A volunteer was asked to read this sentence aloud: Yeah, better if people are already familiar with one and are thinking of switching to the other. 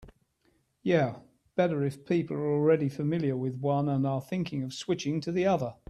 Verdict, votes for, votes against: accepted, 3, 0